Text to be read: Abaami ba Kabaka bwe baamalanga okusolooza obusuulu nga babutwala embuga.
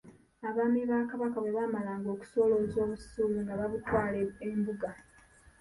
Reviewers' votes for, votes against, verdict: 1, 2, rejected